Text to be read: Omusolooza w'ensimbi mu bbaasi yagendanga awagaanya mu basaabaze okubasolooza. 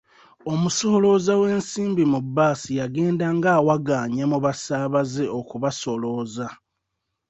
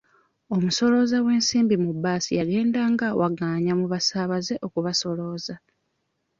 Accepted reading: second